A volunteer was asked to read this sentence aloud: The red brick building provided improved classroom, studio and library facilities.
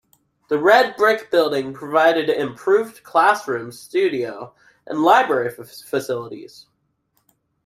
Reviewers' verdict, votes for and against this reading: rejected, 0, 2